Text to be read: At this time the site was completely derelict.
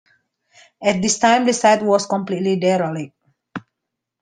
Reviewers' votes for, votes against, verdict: 2, 1, accepted